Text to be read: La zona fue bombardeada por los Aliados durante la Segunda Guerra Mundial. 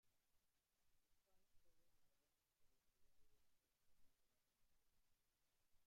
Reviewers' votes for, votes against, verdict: 0, 2, rejected